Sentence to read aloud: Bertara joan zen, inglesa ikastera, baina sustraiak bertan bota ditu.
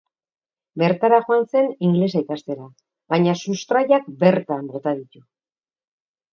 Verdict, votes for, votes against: accepted, 2, 0